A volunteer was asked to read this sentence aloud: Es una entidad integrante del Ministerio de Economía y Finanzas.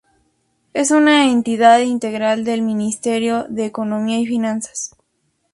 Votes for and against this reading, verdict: 2, 0, accepted